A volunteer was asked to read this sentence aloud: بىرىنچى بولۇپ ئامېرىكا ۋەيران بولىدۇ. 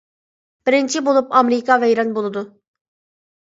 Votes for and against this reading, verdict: 2, 0, accepted